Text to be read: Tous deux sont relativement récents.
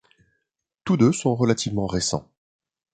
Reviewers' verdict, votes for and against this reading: accepted, 2, 0